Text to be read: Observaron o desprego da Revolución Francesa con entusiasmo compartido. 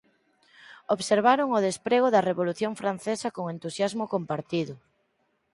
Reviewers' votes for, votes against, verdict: 6, 0, accepted